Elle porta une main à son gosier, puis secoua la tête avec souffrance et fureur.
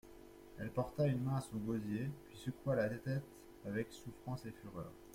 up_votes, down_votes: 0, 2